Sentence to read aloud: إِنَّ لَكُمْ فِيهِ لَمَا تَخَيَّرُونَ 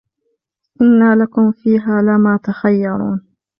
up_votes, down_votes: 1, 2